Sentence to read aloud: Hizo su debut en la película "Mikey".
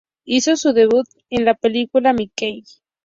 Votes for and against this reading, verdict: 2, 0, accepted